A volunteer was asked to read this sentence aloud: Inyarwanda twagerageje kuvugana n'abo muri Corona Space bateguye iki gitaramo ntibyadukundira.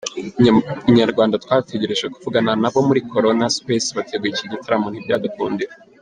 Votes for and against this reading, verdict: 2, 3, rejected